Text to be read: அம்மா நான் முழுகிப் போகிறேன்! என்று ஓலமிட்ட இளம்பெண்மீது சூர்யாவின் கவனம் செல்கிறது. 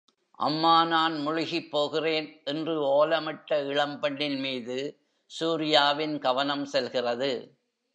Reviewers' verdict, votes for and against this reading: rejected, 1, 3